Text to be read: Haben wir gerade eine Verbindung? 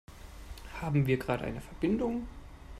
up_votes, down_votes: 1, 2